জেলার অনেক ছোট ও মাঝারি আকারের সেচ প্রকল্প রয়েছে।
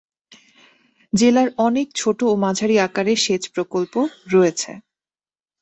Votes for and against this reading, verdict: 2, 0, accepted